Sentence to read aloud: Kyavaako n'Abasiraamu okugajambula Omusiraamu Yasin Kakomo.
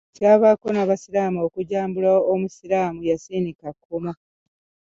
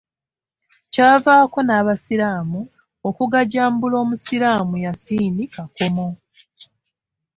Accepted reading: second